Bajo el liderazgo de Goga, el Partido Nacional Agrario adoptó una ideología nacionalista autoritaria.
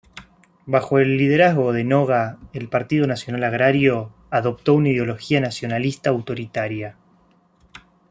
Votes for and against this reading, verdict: 0, 2, rejected